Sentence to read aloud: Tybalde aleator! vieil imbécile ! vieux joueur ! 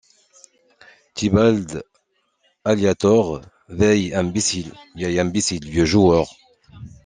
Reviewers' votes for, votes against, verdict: 1, 2, rejected